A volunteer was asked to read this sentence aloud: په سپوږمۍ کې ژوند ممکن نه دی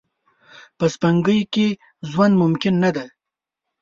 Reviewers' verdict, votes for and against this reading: rejected, 3, 4